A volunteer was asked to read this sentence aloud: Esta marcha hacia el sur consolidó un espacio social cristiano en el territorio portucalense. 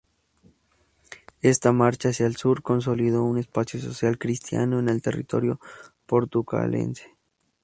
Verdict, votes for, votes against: accepted, 4, 0